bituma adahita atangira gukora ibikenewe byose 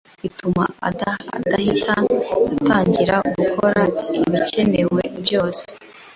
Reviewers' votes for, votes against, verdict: 2, 0, accepted